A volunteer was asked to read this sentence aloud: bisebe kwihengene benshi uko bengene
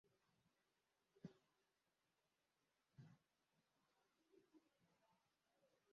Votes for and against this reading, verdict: 0, 2, rejected